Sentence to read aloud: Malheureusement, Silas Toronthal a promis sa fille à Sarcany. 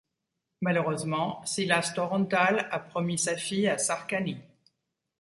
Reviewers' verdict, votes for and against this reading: accepted, 2, 0